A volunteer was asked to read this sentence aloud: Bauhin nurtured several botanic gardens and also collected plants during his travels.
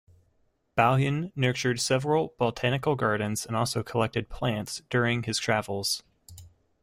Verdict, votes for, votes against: accepted, 2, 1